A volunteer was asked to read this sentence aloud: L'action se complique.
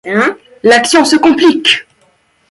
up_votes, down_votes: 0, 2